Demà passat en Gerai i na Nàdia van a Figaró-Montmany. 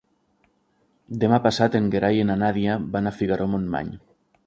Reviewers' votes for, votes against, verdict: 0, 2, rejected